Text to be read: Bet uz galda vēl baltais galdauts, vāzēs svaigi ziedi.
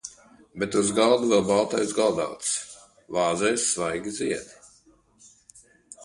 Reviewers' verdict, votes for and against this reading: accepted, 2, 0